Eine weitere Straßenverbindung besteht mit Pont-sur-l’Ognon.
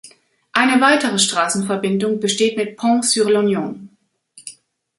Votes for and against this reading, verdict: 1, 2, rejected